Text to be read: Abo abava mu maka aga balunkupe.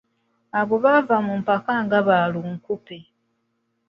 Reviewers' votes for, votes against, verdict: 1, 2, rejected